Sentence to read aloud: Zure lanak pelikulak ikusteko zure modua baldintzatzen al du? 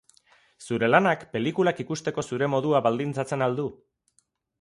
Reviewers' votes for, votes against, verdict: 4, 0, accepted